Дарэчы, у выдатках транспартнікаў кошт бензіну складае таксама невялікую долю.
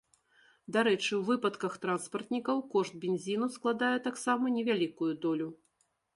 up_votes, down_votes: 0, 2